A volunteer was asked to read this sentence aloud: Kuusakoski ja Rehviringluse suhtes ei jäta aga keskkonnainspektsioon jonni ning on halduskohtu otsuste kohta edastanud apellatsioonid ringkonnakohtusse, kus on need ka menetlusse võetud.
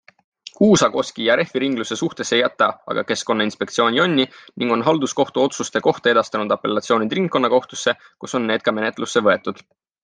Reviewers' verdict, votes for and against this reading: accepted, 3, 0